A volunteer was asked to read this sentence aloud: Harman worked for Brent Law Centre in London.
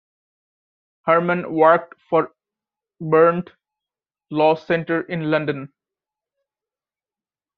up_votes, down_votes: 1, 2